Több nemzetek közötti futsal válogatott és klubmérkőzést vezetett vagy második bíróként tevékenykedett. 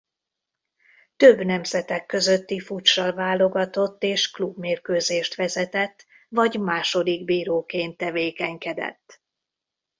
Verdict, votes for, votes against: rejected, 0, 2